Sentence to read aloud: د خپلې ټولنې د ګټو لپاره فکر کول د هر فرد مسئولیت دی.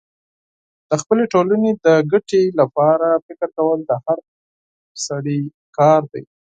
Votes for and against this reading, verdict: 0, 4, rejected